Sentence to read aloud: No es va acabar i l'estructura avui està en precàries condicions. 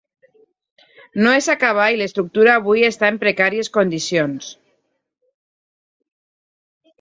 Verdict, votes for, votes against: rejected, 1, 2